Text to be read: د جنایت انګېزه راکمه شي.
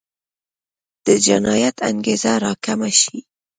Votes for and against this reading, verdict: 2, 0, accepted